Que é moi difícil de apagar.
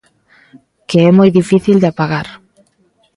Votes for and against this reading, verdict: 2, 0, accepted